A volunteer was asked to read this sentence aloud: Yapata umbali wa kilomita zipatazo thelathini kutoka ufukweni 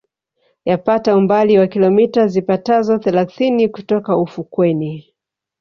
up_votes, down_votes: 3, 1